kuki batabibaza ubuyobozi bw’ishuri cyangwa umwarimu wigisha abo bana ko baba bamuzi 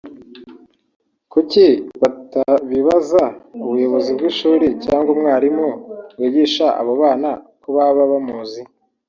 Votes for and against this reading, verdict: 3, 0, accepted